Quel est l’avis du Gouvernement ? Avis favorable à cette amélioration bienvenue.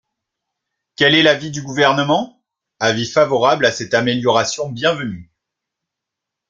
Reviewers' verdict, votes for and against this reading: accepted, 2, 0